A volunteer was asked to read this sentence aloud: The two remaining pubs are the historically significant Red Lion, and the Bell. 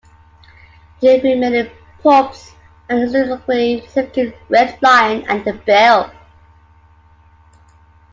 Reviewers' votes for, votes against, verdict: 0, 2, rejected